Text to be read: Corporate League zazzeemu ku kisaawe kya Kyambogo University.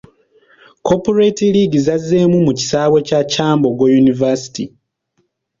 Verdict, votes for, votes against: rejected, 1, 3